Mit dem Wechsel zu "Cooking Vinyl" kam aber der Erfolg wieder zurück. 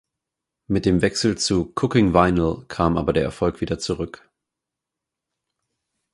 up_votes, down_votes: 4, 0